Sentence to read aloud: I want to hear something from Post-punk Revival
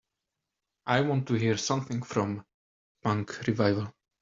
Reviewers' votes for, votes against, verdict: 0, 2, rejected